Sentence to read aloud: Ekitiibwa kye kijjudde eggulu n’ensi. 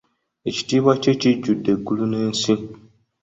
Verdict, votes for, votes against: accepted, 2, 0